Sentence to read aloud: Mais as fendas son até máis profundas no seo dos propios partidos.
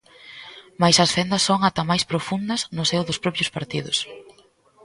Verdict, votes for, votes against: rejected, 0, 2